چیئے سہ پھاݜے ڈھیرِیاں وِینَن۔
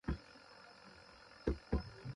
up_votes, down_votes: 0, 2